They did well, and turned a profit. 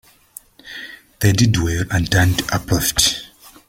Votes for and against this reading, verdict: 1, 2, rejected